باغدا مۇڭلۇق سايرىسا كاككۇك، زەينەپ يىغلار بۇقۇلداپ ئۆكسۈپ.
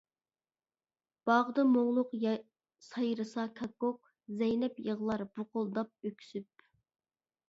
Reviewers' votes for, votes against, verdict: 1, 2, rejected